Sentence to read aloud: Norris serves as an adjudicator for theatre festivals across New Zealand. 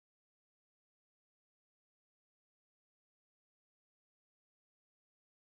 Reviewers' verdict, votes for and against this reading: rejected, 1, 2